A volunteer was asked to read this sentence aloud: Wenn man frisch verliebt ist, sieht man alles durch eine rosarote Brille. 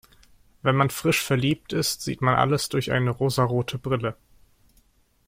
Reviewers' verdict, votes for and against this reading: accepted, 2, 0